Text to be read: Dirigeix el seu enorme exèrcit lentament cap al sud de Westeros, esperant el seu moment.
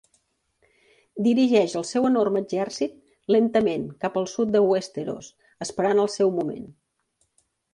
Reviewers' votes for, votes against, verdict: 2, 0, accepted